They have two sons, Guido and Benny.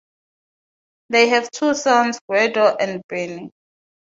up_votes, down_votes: 3, 3